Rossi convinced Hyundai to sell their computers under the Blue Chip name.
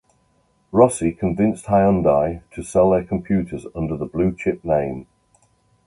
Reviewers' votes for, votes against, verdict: 2, 0, accepted